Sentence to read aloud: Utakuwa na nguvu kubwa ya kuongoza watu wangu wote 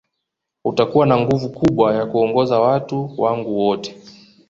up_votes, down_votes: 2, 0